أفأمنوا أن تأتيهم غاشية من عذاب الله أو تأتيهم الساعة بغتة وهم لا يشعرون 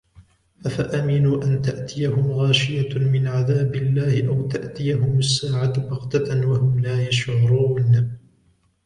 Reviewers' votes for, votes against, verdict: 2, 0, accepted